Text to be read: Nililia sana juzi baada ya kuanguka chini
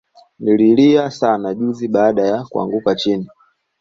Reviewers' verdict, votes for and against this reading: accepted, 2, 0